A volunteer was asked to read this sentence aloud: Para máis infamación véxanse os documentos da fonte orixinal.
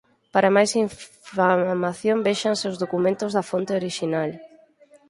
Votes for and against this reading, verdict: 0, 6, rejected